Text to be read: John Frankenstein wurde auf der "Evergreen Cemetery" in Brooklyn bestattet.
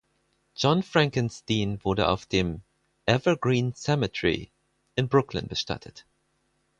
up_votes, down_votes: 0, 4